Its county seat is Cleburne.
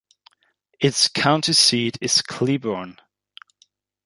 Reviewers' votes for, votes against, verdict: 2, 0, accepted